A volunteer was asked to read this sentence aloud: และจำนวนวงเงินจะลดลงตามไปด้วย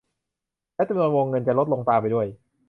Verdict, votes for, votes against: rejected, 0, 2